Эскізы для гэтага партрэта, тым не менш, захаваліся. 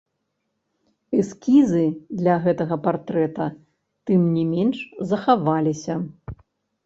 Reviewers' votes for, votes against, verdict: 1, 2, rejected